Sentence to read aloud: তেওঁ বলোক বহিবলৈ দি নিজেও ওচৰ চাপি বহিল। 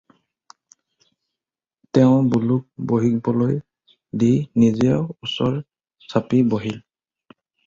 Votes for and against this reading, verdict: 4, 2, accepted